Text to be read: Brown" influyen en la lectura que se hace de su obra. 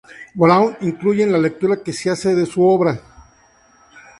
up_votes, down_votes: 2, 0